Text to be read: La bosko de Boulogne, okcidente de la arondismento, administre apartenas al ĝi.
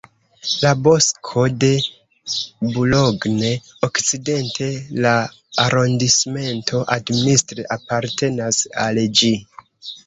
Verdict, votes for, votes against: rejected, 0, 2